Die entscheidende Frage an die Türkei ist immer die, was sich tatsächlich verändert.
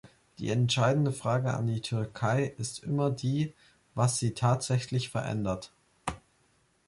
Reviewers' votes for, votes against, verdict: 0, 2, rejected